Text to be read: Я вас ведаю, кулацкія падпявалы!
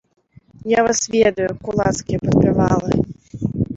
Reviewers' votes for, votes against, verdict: 2, 1, accepted